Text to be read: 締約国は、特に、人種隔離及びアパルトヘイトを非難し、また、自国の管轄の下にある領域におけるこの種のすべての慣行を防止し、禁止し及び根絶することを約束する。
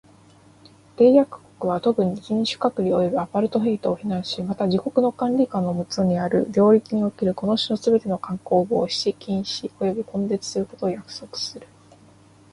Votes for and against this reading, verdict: 0, 2, rejected